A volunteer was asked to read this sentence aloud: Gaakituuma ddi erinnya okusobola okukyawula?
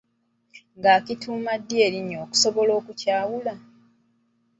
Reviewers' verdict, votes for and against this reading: accepted, 2, 1